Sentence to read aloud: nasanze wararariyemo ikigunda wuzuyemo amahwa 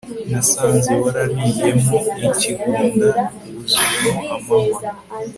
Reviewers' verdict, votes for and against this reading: accepted, 4, 0